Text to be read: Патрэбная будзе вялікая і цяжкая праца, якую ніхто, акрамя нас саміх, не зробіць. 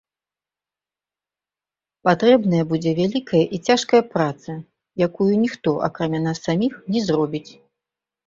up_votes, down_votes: 1, 2